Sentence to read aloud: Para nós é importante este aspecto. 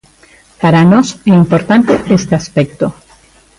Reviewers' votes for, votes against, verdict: 2, 0, accepted